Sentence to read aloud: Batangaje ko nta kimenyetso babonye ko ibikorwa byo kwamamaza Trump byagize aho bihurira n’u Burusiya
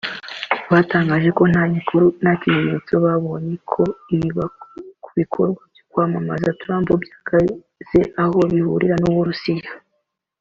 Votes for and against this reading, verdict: 0, 3, rejected